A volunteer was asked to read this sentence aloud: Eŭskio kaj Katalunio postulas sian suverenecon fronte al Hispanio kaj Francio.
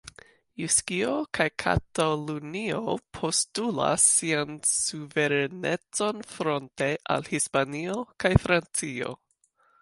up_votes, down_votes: 1, 2